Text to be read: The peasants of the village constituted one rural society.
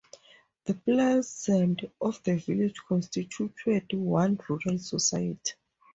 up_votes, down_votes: 0, 2